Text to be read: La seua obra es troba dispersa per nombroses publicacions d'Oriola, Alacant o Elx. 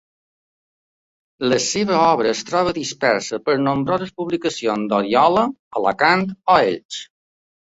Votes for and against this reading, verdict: 1, 2, rejected